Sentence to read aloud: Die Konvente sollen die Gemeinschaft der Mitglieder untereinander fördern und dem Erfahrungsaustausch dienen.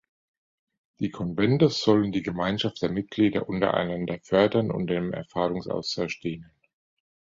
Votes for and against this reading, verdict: 2, 0, accepted